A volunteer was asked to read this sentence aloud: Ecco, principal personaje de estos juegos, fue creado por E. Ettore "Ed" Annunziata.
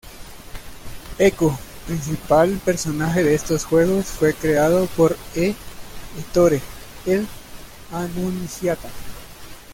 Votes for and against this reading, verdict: 1, 2, rejected